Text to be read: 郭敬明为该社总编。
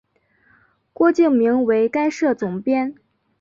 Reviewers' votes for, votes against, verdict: 2, 0, accepted